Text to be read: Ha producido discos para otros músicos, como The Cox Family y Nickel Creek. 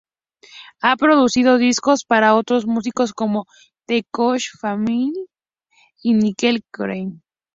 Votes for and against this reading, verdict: 4, 0, accepted